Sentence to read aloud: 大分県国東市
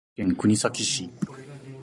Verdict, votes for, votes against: accepted, 4, 0